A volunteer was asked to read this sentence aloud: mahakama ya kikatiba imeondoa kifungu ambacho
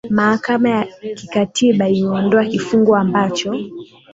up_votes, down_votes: 2, 0